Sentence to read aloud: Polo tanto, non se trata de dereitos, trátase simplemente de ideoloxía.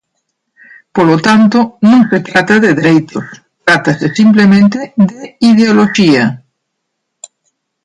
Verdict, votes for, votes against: rejected, 0, 2